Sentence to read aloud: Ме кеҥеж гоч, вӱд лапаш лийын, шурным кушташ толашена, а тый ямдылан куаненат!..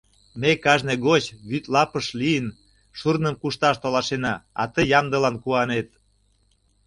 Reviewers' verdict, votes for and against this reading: rejected, 0, 2